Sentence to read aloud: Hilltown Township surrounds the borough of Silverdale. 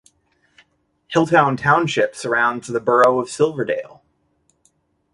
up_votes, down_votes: 2, 0